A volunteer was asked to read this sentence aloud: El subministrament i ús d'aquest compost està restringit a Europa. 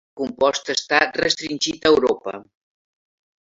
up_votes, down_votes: 0, 2